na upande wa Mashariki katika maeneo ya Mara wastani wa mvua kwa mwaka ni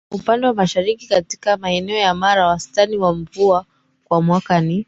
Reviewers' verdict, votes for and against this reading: rejected, 0, 2